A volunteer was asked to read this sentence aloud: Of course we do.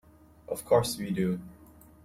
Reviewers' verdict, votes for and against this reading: accepted, 2, 0